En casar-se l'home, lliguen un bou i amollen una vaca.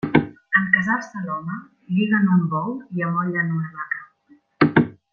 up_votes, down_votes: 0, 2